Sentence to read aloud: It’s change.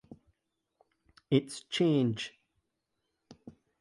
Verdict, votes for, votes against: accepted, 2, 0